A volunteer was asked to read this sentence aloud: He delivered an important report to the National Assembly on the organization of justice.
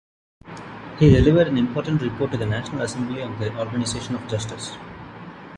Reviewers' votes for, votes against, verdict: 2, 0, accepted